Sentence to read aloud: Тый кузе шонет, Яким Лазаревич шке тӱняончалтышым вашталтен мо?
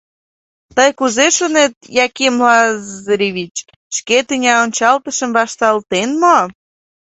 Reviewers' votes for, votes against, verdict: 0, 2, rejected